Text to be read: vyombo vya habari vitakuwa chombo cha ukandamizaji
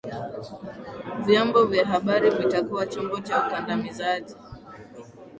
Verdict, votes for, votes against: accepted, 2, 0